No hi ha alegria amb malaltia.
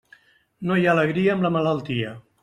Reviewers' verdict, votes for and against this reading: rejected, 0, 2